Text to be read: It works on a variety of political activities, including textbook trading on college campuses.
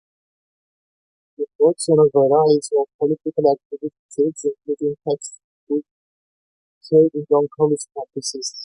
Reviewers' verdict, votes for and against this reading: rejected, 0, 2